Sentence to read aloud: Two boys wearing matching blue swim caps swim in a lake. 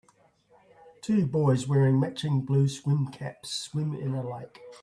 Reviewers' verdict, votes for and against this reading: accepted, 2, 1